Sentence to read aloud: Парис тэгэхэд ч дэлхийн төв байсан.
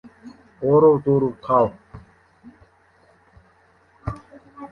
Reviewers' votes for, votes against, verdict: 0, 2, rejected